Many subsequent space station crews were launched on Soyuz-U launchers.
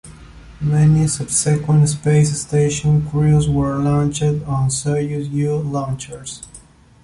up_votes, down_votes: 2, 0